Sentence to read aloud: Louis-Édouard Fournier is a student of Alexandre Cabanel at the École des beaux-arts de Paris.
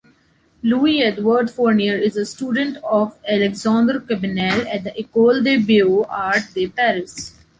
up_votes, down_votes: 1, 2